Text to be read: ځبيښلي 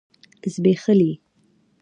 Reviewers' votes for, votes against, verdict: 2, 0, accepted